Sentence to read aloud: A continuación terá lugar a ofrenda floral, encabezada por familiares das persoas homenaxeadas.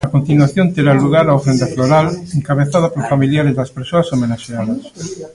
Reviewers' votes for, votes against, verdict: 0, 2, rejected